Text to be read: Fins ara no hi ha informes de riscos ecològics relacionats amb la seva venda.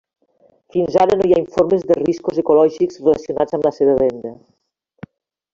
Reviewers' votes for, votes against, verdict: 1, 2, rejected